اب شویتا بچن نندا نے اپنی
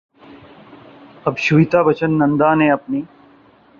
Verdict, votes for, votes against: accepted, 2, 0